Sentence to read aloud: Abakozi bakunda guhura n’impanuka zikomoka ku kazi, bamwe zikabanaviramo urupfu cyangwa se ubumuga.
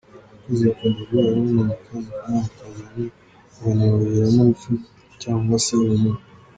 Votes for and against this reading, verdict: 0, 2, rejected